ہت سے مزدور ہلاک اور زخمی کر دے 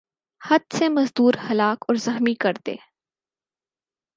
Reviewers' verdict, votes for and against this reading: accepted, 8, 0